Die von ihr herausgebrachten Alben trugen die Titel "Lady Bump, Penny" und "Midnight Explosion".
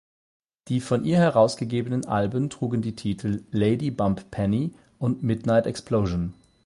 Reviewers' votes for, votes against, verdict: 0, 8, rejected